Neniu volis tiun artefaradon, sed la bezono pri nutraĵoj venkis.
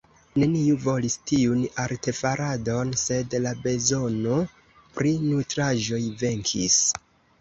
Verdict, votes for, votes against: rejected, 0, 2